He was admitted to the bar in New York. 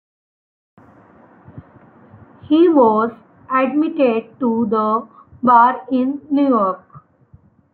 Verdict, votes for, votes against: accepted, 2, 1